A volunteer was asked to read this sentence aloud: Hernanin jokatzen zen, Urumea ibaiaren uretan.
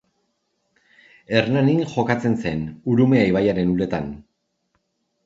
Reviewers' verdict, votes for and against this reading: accepted, 2, 0